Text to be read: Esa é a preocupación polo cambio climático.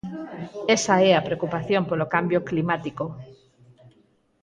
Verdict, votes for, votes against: rejected, 0, 4